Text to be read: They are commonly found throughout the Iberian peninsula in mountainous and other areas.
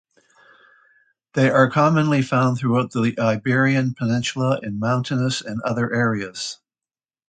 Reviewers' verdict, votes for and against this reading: accepted, 2, 0